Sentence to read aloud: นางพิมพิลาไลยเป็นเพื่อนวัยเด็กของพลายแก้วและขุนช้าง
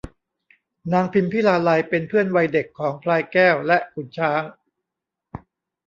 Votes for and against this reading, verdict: 2, 0, accepted